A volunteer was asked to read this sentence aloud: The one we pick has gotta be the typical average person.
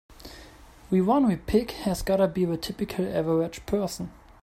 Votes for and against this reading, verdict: 1, 2, rejected